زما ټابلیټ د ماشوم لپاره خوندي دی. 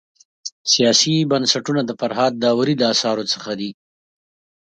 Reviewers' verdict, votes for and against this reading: rejected, 0, 2